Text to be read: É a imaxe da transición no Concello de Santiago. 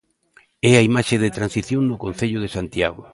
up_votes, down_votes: 0, 2